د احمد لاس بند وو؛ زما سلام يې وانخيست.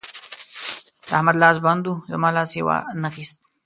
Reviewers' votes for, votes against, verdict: 1, 2, rejected